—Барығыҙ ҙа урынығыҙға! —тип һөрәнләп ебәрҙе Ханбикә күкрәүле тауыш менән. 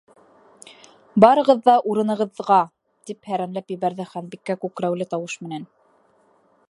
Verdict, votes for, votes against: rejected, 0, 2